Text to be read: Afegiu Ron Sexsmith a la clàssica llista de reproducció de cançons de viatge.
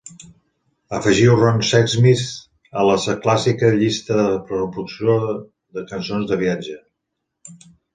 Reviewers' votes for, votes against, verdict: 0, 3, rejected